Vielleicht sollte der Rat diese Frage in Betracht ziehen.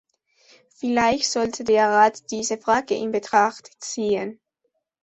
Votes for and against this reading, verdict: 2, 0, accepted